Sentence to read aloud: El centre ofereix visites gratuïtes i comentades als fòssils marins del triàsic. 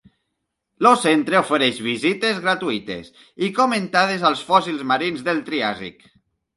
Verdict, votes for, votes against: rejected, 1, 2